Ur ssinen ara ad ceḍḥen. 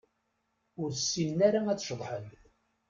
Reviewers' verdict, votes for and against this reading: accepted, 2, 0